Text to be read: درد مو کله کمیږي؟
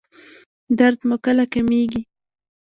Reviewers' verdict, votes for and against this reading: rejected, 0, 2